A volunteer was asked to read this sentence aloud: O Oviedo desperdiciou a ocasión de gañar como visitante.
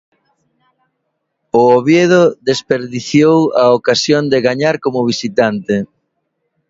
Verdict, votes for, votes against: accepted, 2, 1